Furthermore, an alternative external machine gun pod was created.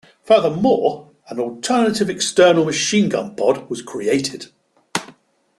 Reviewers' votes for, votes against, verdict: 3, 0, accepted